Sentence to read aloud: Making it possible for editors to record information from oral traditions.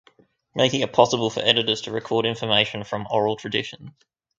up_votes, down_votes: 0, 2